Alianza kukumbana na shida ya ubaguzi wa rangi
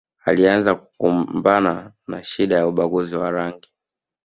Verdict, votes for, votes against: accepted, 5, 0